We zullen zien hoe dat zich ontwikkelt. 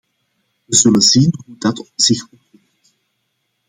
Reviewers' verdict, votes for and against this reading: rejected, 0, 2